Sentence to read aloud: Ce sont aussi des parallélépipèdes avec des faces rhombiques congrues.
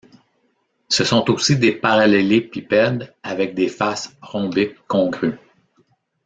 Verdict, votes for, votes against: accepted, 2, 0